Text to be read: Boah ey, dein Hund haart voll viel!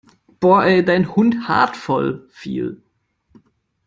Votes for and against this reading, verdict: 2, 0, accepted